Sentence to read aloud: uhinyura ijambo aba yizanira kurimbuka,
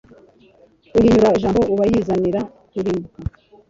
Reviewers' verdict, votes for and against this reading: rejected, 0, 2